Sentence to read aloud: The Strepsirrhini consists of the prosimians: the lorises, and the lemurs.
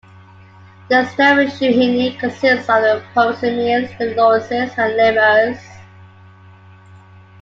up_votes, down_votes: 1, 2